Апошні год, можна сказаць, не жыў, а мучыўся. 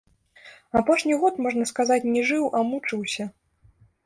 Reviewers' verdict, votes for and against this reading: rejected, 1, 2